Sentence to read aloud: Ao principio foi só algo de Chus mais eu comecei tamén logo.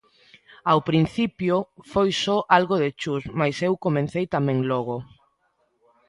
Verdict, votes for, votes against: rejected, 0, 2